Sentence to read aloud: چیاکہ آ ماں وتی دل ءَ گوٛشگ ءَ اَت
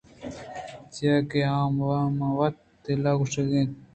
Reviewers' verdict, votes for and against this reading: rejected, 1, 2